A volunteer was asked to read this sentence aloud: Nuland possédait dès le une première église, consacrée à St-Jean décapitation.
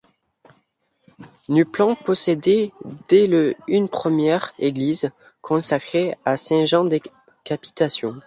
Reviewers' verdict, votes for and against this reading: rejected, 1, 2